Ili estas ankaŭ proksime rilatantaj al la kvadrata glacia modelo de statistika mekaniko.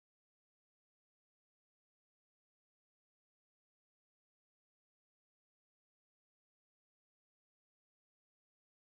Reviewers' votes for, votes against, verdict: 2, 0, accepted